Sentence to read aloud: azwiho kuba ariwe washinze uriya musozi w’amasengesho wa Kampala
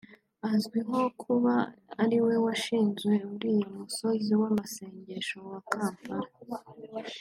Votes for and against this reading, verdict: 2, 0, accepted